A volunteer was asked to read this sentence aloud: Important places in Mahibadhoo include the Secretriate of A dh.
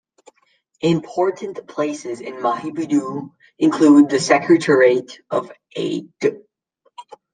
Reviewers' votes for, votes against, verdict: 1, 2, rejected